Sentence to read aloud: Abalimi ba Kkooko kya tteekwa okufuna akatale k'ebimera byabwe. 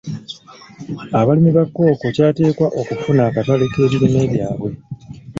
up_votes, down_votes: 0, 2